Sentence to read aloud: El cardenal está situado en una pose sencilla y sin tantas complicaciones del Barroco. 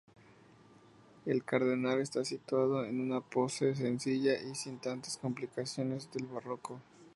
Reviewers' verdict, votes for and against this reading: accepted, 2, 0